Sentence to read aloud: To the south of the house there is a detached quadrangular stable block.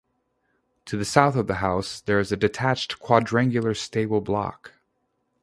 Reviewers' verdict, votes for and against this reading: rejected, 0, 2